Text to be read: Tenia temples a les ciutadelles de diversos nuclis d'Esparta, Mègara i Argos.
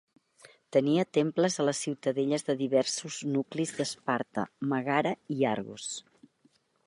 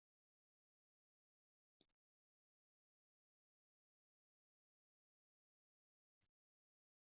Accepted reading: first